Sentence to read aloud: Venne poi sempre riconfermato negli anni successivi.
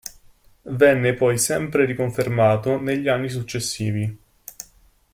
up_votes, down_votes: 2, 0